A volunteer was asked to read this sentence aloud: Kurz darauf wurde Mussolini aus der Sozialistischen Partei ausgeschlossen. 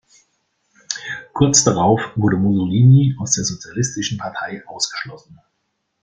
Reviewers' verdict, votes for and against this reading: rejected, 0, 2